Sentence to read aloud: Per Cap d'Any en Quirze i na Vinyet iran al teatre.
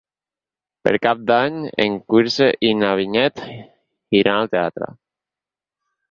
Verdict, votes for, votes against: rejected, 0, 6